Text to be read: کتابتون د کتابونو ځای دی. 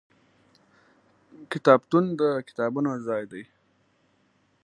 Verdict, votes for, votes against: accepted, 2, 0